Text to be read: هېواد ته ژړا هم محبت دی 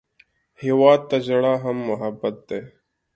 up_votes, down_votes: 2, 0